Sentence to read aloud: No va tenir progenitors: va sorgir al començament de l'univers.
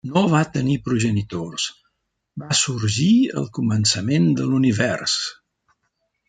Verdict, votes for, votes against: accepted, 3, 0